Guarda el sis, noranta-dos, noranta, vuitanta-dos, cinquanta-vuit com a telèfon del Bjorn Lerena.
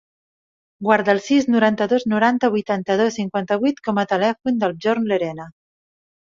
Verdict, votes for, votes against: accepted, 2, 0